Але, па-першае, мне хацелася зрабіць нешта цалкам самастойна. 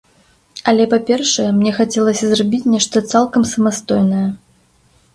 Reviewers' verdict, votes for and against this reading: rejected, 1, 2